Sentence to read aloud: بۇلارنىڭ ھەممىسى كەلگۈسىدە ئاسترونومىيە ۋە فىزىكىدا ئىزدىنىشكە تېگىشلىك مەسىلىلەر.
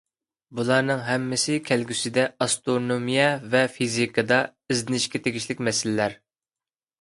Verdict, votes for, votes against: accepted, 2, 1